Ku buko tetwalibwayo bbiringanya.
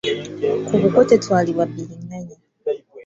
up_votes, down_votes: 1, 2